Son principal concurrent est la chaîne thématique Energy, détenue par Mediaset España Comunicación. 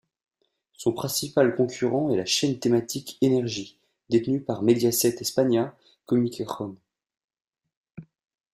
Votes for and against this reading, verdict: 1, 2, rejected